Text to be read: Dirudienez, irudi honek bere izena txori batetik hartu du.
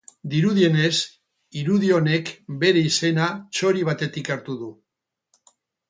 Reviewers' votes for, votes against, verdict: 0, 4, rejected